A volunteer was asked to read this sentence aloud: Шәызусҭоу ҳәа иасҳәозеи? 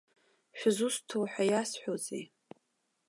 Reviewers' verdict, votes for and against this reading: accepted, 2, 0